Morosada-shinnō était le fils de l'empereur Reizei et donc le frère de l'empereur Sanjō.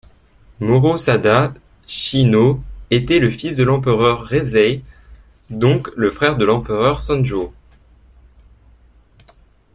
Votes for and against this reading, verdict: 0, 2, rejected